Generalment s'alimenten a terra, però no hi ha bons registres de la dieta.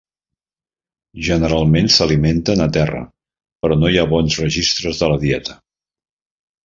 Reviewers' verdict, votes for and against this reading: accepted, 3, 0